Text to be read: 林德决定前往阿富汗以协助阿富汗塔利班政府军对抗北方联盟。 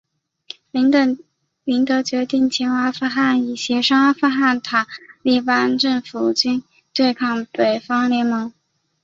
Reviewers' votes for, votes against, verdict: 0, 2, rejected